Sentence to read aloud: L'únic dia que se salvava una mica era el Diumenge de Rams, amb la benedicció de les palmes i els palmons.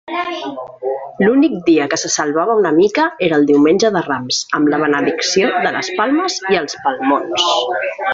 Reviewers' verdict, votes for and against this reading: rejected, 1, 2